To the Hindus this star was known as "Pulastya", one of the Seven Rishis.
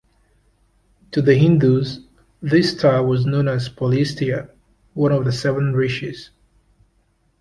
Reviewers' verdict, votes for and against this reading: accepted, 2, 1